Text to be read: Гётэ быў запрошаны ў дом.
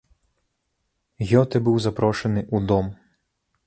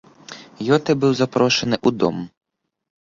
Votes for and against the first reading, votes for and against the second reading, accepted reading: 1, 2, 2, 0, second